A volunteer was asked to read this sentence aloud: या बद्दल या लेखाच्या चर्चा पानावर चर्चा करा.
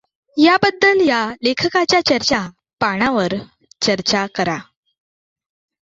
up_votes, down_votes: 1, 2